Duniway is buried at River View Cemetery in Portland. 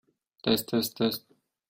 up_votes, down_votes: 0, 2